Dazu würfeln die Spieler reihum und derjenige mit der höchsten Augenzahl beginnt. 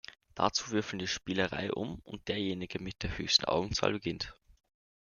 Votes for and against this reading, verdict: 2, 0, accepted